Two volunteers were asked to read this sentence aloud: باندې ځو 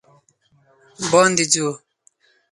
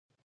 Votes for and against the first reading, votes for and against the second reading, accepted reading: 4, 0, 0, 2, first